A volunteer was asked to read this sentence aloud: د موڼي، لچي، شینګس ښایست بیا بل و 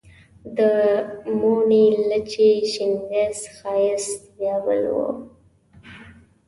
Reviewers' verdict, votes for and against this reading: accepted, 2, 0